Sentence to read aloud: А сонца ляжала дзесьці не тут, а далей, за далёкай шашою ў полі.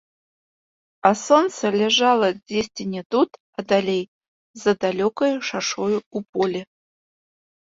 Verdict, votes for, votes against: rejected, 0, 2